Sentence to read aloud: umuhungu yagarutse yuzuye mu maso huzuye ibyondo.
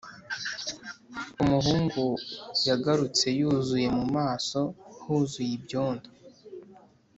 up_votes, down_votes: 3, 0